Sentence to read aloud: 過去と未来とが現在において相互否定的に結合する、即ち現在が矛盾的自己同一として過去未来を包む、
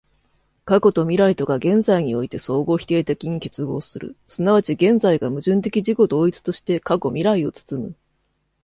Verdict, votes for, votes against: accepted, 2, 0